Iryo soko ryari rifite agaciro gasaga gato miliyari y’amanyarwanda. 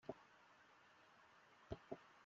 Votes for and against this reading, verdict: 0, 2, rejected